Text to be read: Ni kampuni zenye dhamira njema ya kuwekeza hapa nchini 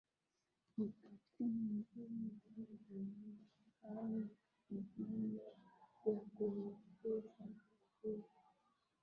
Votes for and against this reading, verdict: 0, 4, rejected